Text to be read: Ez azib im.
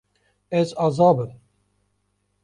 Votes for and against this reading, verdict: 1, 2, rejected